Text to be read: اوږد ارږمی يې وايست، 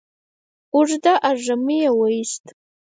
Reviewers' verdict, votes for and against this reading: rejected, 0, 4